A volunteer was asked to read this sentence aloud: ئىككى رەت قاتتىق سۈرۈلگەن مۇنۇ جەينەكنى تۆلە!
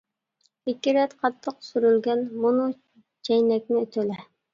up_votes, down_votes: 2, 0